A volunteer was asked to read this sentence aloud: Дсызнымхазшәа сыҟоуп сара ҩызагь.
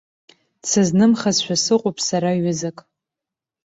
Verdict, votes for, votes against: rejected, 1, 2